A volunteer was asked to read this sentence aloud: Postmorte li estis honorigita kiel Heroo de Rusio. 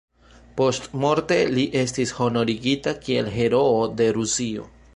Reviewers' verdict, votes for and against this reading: rejected, 1, 2